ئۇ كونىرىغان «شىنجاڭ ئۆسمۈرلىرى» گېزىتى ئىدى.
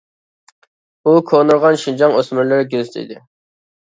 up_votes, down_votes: 2, 1